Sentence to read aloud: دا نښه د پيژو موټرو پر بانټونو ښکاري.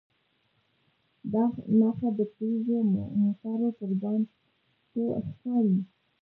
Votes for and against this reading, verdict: 1, 2, rejected